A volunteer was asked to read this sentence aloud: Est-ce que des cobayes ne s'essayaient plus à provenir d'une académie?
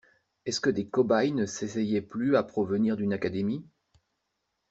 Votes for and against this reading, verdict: 1, 2, rejected